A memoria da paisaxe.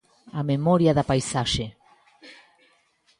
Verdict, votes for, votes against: accepted, 2, 0